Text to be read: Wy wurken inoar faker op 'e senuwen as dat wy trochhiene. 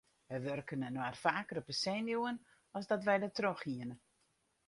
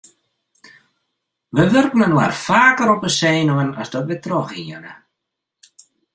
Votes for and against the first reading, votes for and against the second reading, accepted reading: 2, 4, 2, 0, second